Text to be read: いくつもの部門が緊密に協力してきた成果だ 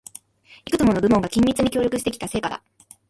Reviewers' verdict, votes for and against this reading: rejected, 0, 2